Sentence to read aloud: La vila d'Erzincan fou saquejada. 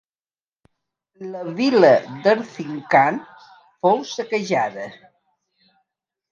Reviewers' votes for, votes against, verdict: 2, 0, accepted